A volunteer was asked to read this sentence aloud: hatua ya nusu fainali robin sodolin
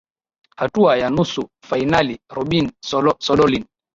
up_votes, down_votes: 6, 0